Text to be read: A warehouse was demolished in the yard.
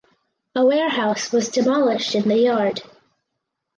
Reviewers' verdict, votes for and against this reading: accepted, 4, 0